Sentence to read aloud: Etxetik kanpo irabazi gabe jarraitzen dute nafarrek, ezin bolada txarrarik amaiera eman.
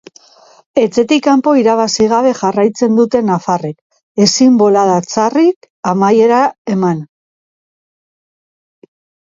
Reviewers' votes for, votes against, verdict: 2, 1, accepted